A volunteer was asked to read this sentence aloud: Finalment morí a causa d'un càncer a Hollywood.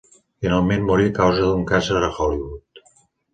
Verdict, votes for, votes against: rejected, 0, 2